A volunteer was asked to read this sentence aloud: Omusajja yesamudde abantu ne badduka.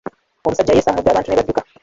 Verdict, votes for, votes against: rejected, 0, 2